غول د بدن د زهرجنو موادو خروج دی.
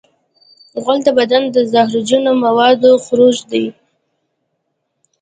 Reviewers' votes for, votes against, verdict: 1, 2, rejected